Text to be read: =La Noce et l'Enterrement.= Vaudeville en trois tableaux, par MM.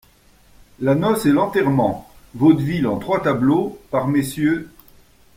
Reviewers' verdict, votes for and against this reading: rejected, 0, 2